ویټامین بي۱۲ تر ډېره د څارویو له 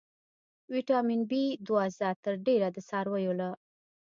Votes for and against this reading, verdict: 0, 2, rejected